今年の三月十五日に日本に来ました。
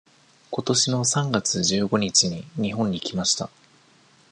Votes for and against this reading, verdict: 2, 0, accepted